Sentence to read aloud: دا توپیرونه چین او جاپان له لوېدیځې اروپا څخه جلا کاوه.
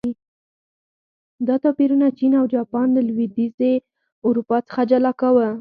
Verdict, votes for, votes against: accepted, 4, 0